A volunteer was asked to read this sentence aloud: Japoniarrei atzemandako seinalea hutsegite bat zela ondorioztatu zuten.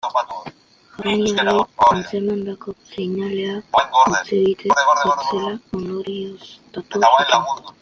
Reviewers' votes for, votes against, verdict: 0, 2, rejected